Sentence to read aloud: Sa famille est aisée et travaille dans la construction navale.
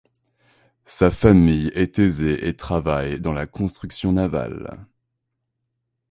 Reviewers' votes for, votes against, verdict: 3, 0, accepted